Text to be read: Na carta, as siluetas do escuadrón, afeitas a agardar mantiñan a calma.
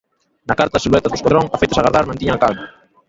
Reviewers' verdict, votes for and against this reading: rejected, 0, 3